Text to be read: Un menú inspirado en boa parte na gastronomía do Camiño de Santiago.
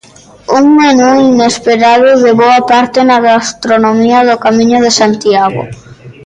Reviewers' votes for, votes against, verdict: 0, 2, rejected